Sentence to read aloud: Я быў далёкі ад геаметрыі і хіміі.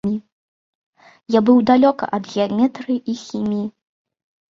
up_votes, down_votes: 1, 2